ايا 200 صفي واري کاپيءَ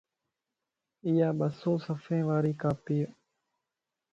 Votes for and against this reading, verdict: 0, 2, rejected